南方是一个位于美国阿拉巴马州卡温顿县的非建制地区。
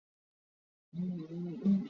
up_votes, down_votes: 4, 5